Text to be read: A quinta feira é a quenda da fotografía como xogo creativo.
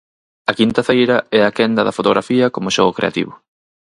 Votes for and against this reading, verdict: 4, 0, accepted